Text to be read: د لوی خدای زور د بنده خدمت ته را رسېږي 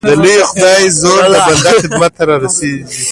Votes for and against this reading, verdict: 1, 2, rejected